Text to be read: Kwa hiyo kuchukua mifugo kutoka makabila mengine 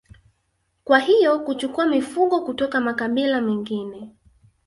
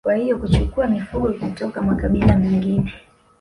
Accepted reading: first